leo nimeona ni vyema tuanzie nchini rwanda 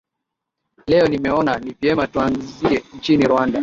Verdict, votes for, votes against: accepted, 2, 1